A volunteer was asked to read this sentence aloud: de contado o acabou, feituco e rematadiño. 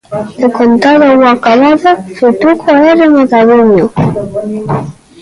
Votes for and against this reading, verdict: 1, 2, rejected